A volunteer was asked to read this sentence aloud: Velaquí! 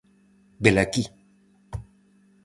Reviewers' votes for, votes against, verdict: 4, 0, accepted